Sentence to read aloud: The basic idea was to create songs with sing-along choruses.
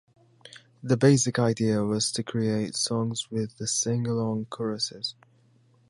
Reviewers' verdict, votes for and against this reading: accepted, 2, 0